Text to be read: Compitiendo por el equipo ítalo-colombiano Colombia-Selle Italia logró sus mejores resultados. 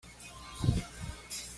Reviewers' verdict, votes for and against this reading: rejected, 1, 2